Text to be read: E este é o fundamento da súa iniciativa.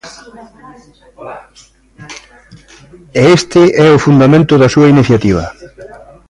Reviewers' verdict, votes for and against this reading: accepted, 2, 1